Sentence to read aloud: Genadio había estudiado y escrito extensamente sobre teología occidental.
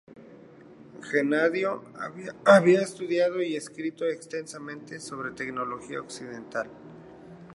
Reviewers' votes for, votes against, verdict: 0, 2, rejected